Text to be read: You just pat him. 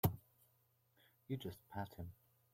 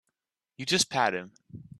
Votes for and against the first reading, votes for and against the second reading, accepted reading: 1, 2, 2, 0, second